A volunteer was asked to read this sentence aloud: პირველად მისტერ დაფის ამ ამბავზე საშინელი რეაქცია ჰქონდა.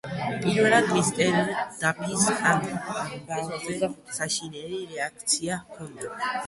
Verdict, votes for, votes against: rejected, 1, 2